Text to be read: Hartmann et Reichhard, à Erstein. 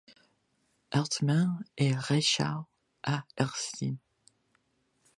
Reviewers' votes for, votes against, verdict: 2, 0, accepted